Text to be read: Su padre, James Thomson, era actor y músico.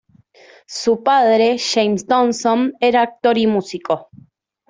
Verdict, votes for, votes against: rejected, 0, 2